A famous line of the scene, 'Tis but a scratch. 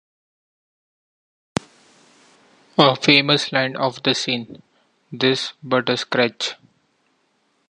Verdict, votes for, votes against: accepted, 2, 0